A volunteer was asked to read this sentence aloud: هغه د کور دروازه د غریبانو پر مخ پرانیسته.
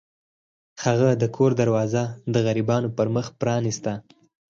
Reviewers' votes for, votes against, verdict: 0, 4, rejected